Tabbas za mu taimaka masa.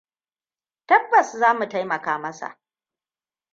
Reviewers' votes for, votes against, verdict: 2, 0, accepted